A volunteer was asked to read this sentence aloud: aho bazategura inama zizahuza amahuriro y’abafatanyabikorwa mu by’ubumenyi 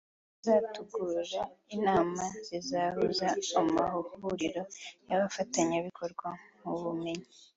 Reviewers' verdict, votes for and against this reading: rejected, 2, 3